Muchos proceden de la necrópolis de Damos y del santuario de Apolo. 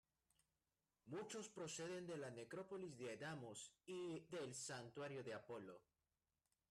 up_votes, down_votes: 1, 2